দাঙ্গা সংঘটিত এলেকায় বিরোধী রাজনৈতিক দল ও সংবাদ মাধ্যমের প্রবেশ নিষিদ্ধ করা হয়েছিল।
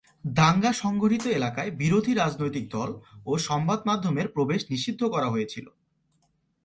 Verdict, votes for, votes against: accepted, 2, 0